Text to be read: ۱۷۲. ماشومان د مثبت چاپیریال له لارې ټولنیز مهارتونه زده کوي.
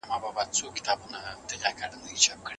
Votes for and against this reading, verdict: 0, 2, rejected